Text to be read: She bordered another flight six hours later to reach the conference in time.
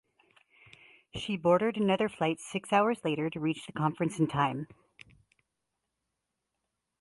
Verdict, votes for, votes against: accepted, 4, 0